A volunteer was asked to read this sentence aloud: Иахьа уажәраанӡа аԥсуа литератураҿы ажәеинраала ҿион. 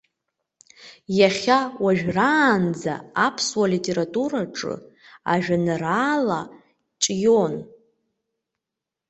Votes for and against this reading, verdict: 2, 0, accepted